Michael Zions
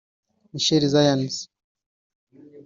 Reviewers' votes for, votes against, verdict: 1, 2, rejected